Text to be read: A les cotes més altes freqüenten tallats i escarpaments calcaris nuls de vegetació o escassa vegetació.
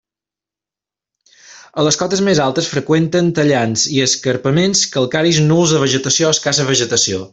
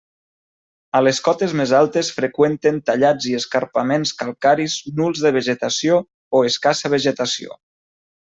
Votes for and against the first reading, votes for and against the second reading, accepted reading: 0, 2, 3, 0, second